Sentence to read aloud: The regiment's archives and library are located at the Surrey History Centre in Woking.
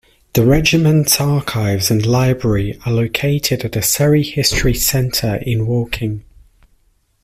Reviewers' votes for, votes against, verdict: 2, 0, accepted